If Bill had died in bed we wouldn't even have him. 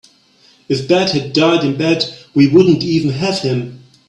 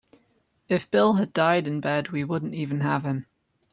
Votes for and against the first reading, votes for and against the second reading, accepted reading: 1, 3, 2, 1, second